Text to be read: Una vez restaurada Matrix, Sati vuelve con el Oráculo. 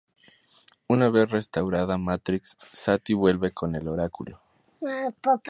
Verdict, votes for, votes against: rejected, 0, 2